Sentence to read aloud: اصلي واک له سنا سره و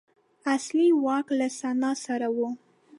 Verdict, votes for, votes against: accepted, 2, 0